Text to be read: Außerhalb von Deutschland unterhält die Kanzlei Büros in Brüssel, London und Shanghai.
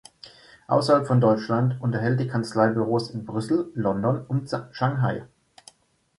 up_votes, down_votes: 0, 2